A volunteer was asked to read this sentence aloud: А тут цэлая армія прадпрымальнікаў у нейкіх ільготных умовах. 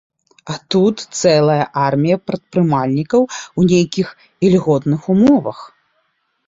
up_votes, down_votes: 2, 0